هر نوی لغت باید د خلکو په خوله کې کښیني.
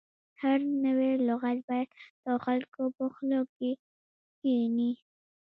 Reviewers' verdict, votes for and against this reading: rejected, 1, 2